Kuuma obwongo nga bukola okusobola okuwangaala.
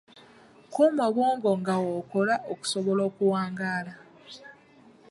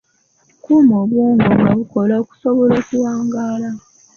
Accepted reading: second